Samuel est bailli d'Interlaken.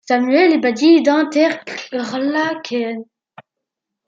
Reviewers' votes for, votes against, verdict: 0, 2, rejected